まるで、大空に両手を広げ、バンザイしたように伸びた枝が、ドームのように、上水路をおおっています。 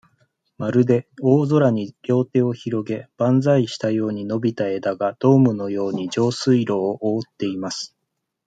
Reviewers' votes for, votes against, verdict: 2, 0, accepted